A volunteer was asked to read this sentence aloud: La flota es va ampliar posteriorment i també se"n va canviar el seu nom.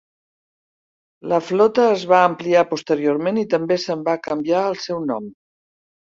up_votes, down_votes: 2, 0